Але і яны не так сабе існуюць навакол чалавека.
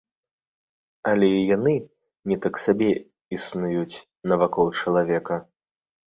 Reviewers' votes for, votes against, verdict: 2, 1, accepted